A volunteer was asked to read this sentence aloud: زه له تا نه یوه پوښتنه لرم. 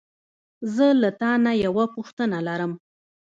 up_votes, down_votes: 2, 0